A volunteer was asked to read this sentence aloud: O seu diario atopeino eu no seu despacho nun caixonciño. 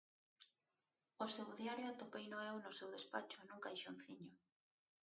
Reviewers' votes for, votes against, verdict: 1, 2, rejected